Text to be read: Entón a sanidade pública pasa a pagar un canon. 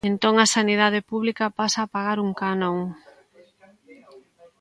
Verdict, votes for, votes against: rejected, 1, 2